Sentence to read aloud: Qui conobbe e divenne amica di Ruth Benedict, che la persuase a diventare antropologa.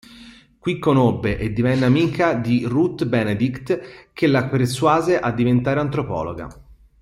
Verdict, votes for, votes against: rejected, 1, 2